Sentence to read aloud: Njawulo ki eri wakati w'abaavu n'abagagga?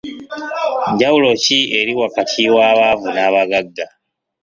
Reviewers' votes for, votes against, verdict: 2, 0, accepted